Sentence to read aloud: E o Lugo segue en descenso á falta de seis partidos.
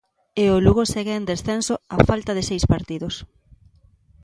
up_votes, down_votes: 2, 0